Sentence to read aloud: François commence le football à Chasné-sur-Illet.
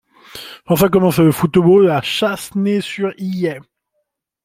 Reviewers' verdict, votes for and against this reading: rejected, 0, 2